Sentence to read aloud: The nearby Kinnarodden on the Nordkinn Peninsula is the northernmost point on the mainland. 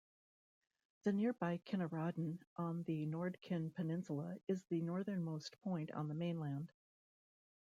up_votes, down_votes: 2, 0